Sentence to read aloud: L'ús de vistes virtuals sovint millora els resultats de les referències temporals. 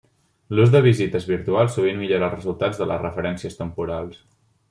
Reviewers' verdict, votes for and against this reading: rejected, 0, 2